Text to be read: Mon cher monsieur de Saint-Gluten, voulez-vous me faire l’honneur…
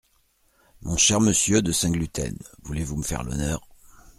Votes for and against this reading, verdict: 2, 0, accepted